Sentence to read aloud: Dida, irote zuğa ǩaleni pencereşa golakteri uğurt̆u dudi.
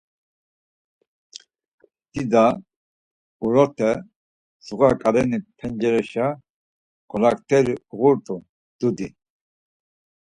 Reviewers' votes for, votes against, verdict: 2, 4, rejected